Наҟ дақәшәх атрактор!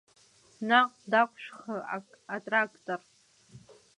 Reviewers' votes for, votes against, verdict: 4, 3, accepted